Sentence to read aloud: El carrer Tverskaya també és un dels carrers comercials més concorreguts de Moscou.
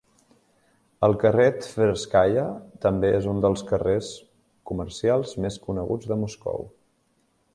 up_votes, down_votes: 0, 2